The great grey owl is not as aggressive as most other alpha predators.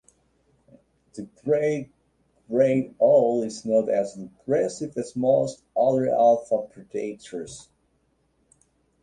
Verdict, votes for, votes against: accepted, 2, 1